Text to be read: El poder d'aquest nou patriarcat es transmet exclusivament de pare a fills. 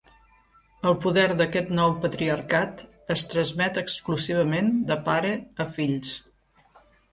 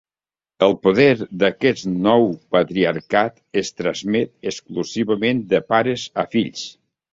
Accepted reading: first